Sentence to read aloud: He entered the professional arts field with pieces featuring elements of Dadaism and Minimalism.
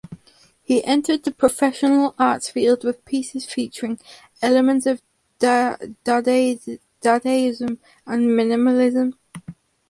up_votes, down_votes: 0, 4